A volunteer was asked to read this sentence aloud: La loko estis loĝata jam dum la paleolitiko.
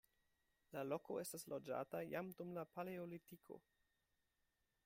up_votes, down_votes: 2, 0